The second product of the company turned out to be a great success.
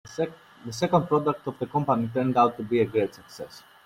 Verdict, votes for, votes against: rejected, 0, 2